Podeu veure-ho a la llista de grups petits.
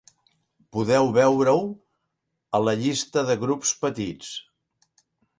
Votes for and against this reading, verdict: 4, 0, accepted